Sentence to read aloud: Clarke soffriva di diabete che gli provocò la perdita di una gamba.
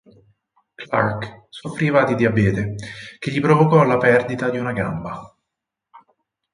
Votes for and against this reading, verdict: 2, 4, rejected